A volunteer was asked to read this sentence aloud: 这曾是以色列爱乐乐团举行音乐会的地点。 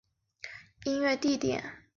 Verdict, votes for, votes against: rejected, 1, 2